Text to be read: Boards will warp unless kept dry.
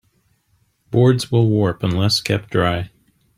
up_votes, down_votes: 2, 0